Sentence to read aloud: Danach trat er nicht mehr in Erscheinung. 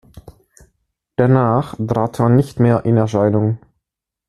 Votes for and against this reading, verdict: 2, 1, accepted